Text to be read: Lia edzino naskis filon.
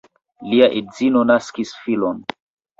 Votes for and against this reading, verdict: 2, 0, accepted